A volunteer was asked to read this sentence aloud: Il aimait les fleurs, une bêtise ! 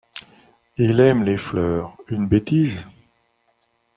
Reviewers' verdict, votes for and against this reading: rejected, 1, 2